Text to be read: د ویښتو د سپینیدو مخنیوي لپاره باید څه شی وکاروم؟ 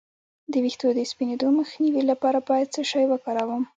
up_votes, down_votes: 2, 0